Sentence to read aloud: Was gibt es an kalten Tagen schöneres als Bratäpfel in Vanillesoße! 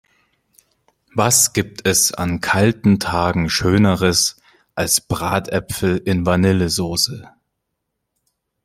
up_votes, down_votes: 2, 0